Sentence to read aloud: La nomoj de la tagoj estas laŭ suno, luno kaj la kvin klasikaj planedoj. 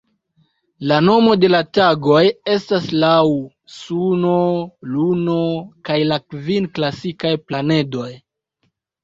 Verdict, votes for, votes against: accepted, 2, 0